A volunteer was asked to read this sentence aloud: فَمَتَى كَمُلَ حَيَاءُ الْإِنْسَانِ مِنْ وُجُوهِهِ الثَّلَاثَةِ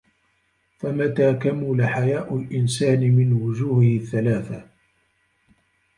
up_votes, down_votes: 0, 2